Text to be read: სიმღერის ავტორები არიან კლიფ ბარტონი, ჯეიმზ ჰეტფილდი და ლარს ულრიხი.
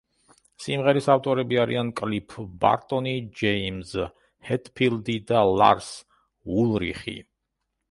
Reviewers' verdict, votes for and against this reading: accepted, 2, 0